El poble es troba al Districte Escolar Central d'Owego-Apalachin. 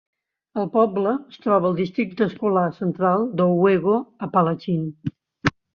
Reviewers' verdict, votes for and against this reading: rejected, 1, 2